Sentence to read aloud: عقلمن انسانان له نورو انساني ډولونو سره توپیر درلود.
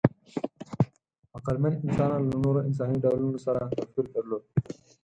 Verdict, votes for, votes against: rejected, 2, 4